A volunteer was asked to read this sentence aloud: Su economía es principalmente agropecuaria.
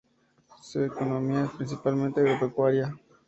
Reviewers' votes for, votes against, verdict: 2, 2, rejected